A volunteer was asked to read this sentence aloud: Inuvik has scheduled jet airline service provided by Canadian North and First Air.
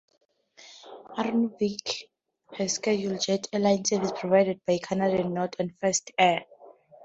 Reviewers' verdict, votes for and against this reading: rejected, 0, 2